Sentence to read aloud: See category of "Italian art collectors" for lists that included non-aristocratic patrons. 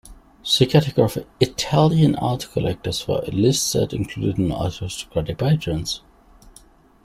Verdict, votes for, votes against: rejected, 0, 2